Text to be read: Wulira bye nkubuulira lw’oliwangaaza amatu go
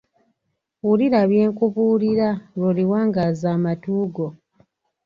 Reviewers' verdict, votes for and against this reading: accepted, 2, 0